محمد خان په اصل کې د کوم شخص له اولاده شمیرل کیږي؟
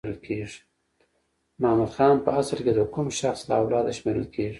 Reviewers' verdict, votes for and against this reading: accepted, 2, 0